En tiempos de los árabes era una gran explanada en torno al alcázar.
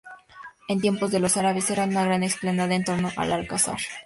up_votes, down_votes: 4, 0